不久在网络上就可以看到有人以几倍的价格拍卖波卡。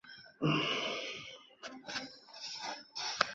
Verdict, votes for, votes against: rejected, 0, 4